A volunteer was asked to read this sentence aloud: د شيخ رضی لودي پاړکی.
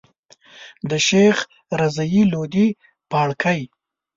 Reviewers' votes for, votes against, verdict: 2, 0, accepted